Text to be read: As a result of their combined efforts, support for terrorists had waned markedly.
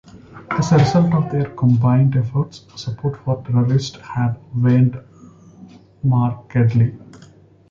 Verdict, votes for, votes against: accepted, 2, 0